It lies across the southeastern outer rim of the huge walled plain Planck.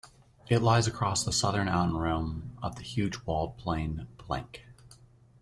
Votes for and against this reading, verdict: 0, 2, rejected